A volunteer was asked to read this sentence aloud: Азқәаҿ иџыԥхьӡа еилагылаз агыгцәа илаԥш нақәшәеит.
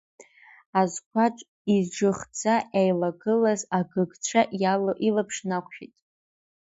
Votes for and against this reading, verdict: 0, 2, rejected